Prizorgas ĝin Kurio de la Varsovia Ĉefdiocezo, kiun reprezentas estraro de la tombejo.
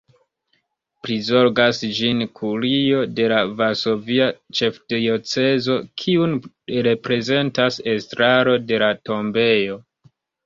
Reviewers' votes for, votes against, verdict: 1, 2, rejected